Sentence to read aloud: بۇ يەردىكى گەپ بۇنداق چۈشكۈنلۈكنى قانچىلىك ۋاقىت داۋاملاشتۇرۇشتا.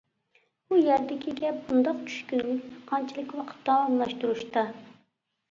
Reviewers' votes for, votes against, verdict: 0, 2, rejected